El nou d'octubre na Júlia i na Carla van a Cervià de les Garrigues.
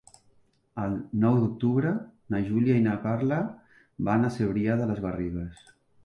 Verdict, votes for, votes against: accepted, 2, 1